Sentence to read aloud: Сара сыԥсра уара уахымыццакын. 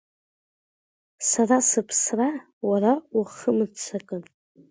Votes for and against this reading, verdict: 2, 0, accepted